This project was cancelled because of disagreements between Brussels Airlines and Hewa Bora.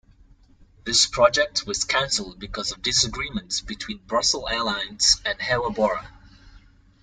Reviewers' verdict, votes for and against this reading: rejected, 1, 2